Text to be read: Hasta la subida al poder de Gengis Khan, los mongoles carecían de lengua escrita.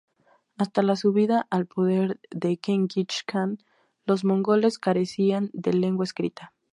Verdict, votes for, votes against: rejected, 2, 2